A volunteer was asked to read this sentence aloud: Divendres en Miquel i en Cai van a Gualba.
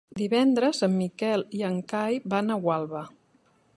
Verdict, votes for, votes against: accepted, 3, 0